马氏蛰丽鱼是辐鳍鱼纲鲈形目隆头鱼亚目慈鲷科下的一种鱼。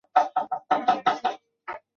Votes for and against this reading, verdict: 0, 2, rejected